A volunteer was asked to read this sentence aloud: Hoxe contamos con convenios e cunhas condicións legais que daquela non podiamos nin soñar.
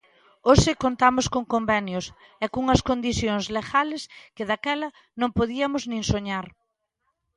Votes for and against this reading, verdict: 0, 2, rejected